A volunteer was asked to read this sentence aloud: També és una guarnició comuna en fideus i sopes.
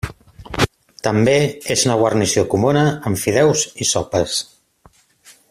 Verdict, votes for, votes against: accepted, 2, 0